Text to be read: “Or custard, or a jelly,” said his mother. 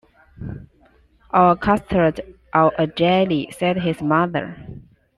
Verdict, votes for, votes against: accepted, 2, 0